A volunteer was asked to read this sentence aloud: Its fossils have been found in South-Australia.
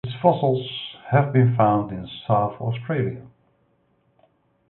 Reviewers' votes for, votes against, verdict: 2, 0, accepted